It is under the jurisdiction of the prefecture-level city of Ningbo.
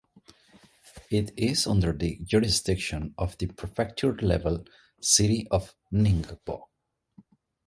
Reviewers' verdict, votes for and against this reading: accepted, 2, 1